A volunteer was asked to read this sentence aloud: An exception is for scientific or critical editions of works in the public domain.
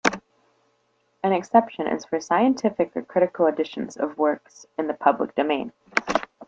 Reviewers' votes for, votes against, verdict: 2, 0, accepted